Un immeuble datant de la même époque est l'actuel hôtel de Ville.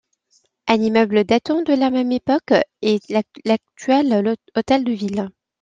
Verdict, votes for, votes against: rejected, 0, 2